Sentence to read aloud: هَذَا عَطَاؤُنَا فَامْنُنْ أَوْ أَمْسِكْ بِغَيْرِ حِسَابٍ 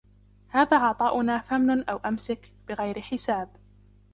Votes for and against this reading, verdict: 2, 0, accepted